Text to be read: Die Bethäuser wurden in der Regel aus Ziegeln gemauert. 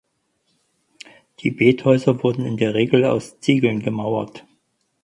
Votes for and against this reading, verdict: 4, 0, accepted